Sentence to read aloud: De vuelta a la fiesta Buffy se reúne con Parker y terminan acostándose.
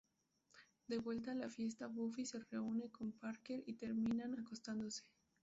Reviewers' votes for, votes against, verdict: 2, 0, accepted